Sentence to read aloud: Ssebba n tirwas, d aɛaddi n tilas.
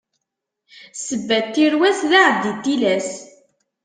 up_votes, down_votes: 2, 0